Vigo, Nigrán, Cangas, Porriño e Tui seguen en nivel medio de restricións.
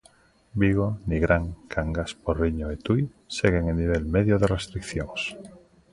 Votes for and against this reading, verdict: 2, 0, accepted